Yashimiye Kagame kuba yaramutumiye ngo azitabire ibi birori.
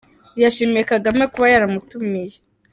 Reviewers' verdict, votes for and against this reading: rejected, 0, 4